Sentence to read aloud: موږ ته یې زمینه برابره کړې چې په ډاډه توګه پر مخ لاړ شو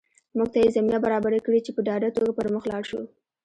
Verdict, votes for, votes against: accepted, 2, 1